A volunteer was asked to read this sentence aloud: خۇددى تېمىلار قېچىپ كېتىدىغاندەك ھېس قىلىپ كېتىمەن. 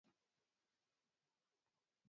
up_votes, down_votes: 0, 4